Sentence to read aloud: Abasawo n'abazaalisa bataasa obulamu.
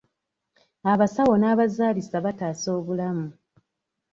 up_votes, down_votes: 2, 0